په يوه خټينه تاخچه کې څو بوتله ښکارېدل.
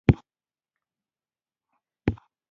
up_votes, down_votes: 0, 2